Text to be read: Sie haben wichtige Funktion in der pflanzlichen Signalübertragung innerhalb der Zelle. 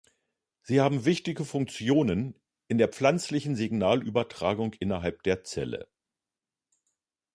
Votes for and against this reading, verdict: 0, 2, rejected